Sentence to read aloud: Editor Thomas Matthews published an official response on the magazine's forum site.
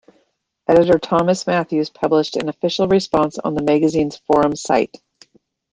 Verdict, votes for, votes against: accepted, 2, 0